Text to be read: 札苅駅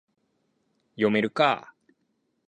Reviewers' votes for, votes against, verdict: 0, 6, rejected